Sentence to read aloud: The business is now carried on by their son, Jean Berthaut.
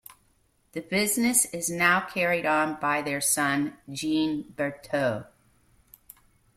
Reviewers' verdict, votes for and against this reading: accepted, 2, 0